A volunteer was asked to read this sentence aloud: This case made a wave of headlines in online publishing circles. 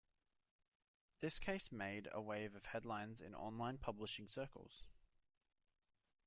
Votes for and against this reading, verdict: 2, 1, accepted